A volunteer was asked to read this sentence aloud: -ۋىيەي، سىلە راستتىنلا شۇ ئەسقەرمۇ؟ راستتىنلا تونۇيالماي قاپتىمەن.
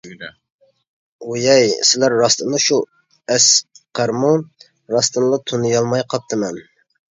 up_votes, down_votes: 1, 2